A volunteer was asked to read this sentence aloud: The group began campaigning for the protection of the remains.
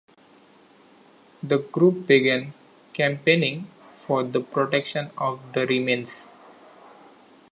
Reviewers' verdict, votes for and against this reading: accepted, 2, 0